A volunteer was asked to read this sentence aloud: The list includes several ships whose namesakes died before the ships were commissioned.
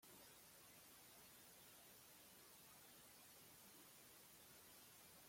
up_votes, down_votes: 0, 2